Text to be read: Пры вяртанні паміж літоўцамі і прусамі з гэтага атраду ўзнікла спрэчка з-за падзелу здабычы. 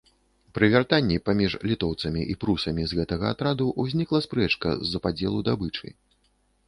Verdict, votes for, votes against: rejected, 1, 2